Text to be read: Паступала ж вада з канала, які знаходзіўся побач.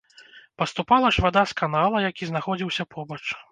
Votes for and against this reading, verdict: 2, 0, accepted